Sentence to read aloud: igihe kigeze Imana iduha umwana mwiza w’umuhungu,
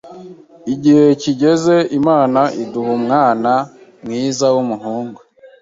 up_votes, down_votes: 2, 0